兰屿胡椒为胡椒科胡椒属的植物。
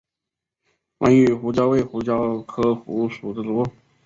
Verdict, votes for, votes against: rejected, 0, 2